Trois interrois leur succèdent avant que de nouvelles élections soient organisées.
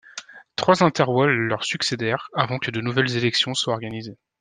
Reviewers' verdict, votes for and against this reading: rejected, 0, 2